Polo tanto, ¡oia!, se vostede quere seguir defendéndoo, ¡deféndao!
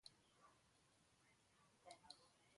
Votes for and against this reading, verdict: 0, 2, rejected